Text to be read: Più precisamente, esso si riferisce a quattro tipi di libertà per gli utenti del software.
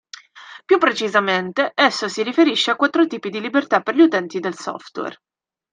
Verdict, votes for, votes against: accepted, 2, 0